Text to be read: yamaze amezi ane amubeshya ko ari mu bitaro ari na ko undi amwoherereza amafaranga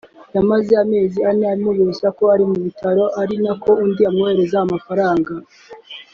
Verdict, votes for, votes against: accepted, 2, 0